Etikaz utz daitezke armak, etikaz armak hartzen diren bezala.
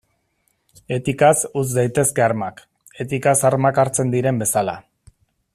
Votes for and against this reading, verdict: 2, 0, accepted